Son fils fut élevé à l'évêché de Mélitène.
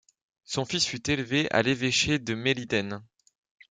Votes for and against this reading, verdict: 2, 0, accepted